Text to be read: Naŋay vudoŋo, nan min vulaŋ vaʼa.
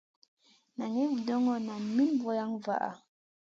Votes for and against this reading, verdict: 2, 0, accepted